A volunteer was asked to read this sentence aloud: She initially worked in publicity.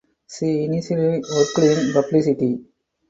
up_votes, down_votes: 0, 2